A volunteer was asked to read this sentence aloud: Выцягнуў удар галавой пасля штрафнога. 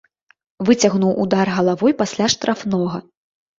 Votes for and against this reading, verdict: 2, 0, accepted